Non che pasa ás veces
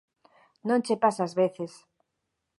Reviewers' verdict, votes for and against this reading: accepted, 2, 0